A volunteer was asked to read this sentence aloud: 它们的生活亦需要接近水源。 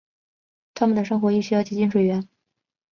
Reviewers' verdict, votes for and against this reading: accepted, 2, 0